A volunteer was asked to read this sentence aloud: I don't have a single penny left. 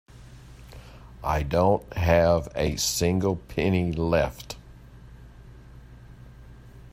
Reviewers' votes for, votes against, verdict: 2, 0, accepted